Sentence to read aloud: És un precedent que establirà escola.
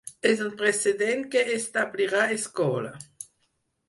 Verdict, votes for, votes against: rejected, 2, 4